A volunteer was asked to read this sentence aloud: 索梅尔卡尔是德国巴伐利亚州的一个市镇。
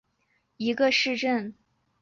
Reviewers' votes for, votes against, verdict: 0, 5, rejected